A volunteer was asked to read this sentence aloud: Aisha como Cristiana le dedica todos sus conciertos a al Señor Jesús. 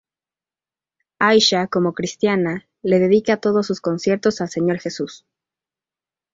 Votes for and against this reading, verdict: 2, 0, accepted